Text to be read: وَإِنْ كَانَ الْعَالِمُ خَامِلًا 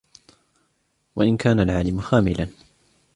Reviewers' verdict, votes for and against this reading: accepted, 2, 0